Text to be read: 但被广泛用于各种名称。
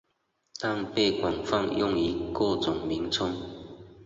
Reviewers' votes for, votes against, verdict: 5, 0, accepted